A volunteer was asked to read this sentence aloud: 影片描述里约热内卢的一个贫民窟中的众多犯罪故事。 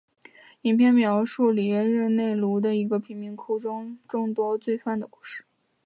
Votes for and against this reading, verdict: 2, 0, accepted